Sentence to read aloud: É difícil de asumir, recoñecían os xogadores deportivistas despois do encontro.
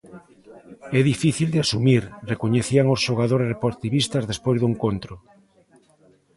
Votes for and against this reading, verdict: 3, 0, accepted